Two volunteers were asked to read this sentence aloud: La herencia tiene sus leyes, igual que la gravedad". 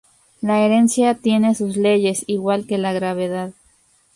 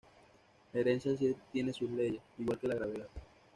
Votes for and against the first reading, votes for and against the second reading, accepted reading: 2, 0, 1, 2, first